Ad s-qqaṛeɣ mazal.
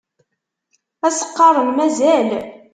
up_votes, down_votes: 1, 2